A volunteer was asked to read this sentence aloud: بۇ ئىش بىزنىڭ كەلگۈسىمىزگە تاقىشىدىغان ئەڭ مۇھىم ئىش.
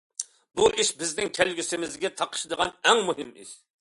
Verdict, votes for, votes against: accepted, 2, 0